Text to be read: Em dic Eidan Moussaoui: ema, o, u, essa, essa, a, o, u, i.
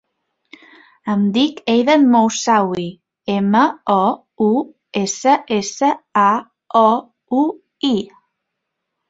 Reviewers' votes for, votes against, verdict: 2, 0, accepted